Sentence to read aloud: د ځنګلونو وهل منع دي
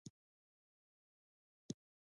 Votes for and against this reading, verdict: 0, 2, rejected